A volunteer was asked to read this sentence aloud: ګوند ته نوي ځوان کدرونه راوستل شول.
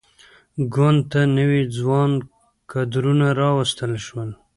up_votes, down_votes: 3, 1